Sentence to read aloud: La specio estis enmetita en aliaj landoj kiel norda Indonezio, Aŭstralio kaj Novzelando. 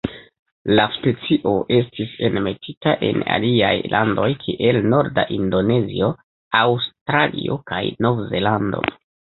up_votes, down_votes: 1, 2